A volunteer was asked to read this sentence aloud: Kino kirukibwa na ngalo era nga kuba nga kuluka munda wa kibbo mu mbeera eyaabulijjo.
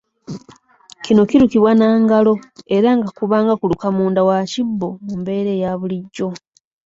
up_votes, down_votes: 2, 0